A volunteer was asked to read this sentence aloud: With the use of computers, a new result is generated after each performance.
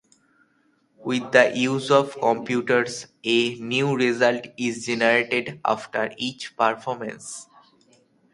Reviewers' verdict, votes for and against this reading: accepted, 2, 0